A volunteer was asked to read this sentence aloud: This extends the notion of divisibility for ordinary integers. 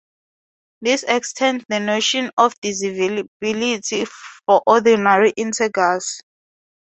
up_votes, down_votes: 0, 2